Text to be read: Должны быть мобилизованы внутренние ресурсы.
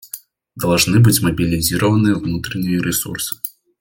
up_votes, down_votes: 0, 2